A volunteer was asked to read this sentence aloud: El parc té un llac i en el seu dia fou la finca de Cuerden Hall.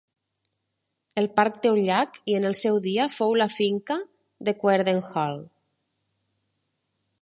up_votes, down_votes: 2, 0